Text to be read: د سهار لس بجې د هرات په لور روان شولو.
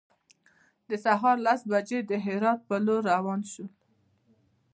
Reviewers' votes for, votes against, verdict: 1, 2, rejected